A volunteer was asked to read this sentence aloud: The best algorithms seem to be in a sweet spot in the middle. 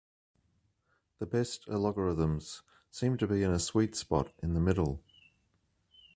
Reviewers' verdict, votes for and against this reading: rejected, 0, 2